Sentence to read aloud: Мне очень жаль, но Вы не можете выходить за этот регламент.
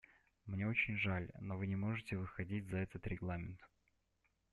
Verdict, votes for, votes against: accepted, 2, 0